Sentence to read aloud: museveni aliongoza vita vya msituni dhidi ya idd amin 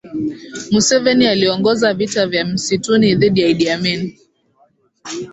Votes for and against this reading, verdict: 3, 0, accepted